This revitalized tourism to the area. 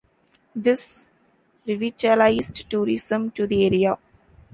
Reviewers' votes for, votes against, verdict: 2, 0, accepted